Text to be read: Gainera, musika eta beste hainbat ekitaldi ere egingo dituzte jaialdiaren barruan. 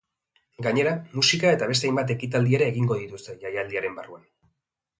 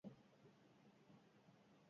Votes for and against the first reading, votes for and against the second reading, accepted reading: 2, 0, 2, 6, first